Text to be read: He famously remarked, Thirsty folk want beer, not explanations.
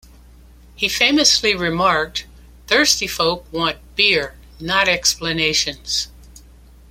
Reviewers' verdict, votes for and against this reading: accepted, 2, 0